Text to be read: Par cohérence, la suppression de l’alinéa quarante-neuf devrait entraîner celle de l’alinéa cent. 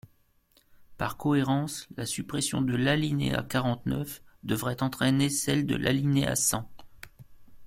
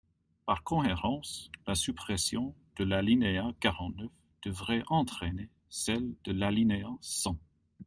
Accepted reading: first